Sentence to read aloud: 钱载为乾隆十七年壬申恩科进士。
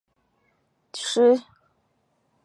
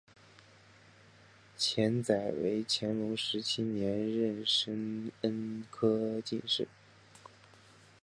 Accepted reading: second